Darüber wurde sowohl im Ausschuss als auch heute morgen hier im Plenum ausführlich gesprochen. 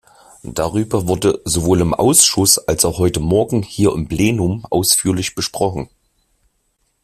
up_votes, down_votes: 2, 1